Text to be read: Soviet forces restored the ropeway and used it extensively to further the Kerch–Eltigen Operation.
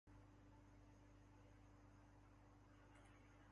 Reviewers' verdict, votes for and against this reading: rejected, 0, 2